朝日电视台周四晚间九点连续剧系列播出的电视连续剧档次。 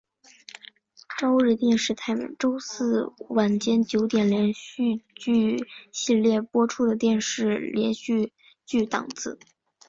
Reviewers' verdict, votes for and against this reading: accepted, 2, 0